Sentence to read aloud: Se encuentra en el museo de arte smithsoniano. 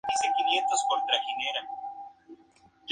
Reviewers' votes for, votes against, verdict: 0, 4, rejected